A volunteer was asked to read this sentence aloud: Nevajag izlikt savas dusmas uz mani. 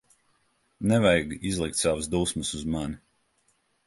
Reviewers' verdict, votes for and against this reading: accepted, 2, 0